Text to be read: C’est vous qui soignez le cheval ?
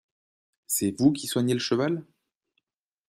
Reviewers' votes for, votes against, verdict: 2, 0, accepted